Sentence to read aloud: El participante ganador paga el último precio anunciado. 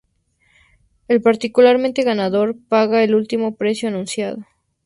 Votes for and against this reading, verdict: 0, 2, rejected